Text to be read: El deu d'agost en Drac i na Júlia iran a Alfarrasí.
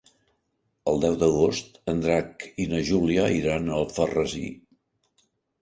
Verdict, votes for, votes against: accepted, 3, 0